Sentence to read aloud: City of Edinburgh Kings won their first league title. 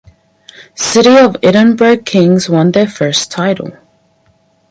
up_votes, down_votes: 2, 2